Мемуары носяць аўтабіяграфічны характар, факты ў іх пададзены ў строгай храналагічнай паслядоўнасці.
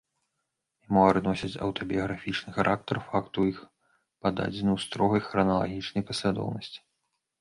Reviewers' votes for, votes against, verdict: 1, 3, rejected